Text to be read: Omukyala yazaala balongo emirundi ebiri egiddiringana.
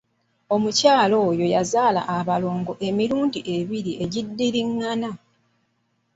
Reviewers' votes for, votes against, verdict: 0, 2, rejected